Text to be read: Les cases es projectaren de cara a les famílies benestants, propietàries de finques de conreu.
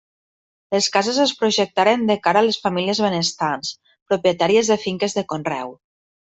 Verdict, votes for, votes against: accepted, 3, 0